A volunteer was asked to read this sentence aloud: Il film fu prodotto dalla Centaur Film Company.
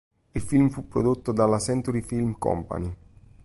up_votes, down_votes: 0, 2